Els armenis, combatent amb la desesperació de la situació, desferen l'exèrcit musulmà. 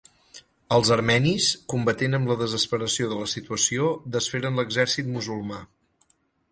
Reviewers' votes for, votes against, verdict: 6, 0, accepted